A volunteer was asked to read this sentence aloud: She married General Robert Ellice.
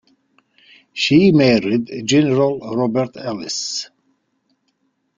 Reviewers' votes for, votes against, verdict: 2, 0, accepted